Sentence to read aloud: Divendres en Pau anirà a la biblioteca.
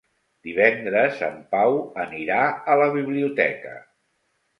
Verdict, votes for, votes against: accepted, 3, 0